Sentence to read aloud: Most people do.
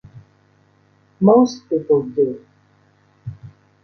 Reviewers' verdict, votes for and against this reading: accepted, 3, 0